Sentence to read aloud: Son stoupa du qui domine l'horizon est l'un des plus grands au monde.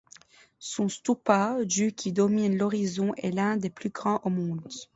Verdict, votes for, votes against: accepted, 2, 0